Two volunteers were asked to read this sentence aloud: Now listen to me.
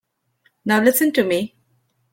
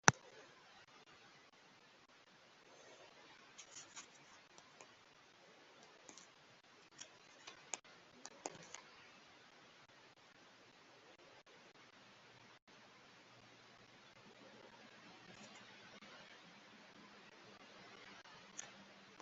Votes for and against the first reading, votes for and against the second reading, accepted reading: 2, 0, 0, 3, first